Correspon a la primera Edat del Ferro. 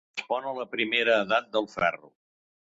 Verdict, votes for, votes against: accepted, 2, 1